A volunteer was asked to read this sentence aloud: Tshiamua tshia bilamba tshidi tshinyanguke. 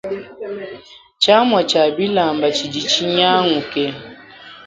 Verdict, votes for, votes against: rejected, 1, 2